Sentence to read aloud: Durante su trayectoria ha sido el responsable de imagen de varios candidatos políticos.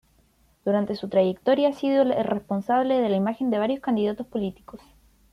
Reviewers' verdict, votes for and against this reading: rejected, 0, 2